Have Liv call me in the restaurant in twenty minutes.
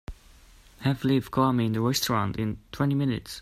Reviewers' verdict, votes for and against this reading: accepted, 2, 0